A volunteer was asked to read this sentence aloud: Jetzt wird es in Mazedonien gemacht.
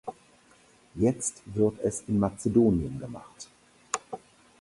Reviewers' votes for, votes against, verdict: 4, 0, accepted